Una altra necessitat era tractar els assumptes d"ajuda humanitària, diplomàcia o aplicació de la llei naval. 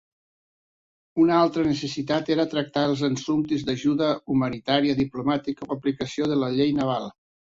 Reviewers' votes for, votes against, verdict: 0, 2, rejected